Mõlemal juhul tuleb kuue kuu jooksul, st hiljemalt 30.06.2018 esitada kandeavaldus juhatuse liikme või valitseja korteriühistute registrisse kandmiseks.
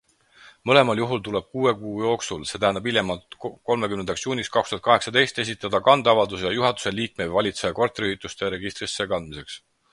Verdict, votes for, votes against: rejected, 0, 2